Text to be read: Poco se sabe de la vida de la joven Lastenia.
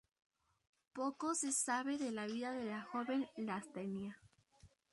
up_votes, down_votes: 4, 0